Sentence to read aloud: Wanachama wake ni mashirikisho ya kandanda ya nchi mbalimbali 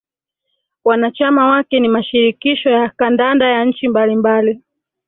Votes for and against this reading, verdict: 1, 2, rejected